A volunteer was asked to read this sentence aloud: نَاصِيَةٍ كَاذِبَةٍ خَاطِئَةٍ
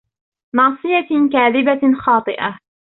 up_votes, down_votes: 0, 2